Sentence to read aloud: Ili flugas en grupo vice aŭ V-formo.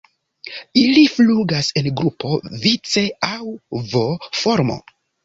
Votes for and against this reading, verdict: 2, 0, accepted